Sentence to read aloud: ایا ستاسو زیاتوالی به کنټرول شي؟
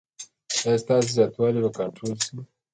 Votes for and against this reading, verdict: 1, 2, rejected